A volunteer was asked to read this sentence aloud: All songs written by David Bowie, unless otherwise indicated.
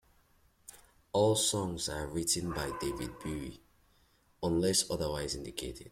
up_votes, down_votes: 0, 2